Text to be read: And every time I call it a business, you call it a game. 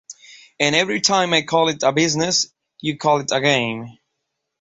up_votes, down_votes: 2, 0